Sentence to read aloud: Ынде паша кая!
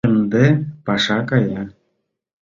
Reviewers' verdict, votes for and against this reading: accepted, 2, 0